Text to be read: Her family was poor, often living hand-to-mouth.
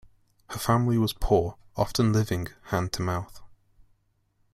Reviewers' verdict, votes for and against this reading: rejected, 1, 2